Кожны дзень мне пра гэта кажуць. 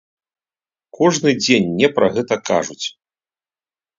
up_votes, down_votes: 2, 0